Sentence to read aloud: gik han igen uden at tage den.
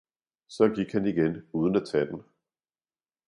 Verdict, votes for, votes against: rejected, 1, 2